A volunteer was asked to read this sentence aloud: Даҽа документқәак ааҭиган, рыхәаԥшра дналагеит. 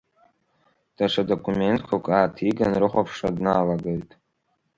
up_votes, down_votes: 2, 0